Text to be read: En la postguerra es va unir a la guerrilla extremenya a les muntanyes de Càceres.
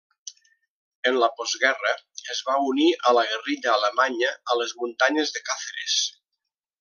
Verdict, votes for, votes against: rejected, 0, 2